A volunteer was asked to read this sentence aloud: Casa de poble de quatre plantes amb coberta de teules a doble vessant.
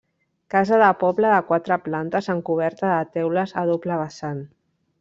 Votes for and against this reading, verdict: 3, 1, accepted